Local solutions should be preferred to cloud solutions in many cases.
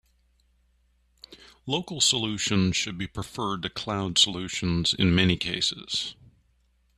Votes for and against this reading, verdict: 2, 1, accepted